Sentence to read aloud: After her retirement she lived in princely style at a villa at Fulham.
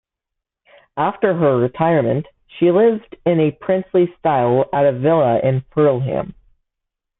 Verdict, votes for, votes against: rejected, 0, 2